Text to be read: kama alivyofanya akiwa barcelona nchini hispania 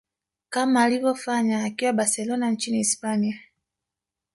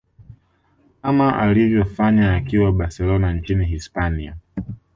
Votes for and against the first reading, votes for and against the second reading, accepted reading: 1, 2, 2, 1, second